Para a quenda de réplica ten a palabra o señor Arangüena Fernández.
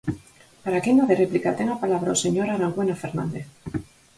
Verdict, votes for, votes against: accepted, 4, 0